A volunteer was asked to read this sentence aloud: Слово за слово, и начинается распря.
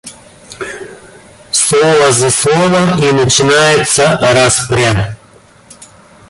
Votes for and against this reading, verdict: 0, 2, rejected